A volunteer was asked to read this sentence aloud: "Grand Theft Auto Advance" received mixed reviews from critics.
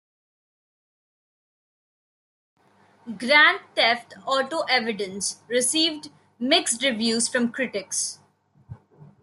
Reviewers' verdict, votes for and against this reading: rejected, 0, 2